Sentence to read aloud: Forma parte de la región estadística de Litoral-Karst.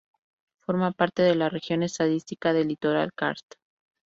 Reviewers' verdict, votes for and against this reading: rejected, 0, 4